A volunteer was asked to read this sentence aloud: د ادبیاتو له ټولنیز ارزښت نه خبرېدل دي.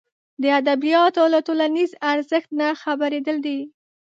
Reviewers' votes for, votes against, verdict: 2, 0, accepted